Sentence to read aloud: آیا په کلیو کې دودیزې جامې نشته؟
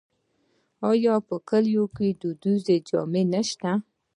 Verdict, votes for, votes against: rejected, 1, 2